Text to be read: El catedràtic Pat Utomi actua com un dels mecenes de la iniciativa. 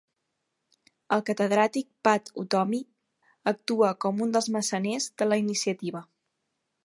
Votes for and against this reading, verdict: 1, 2, rejected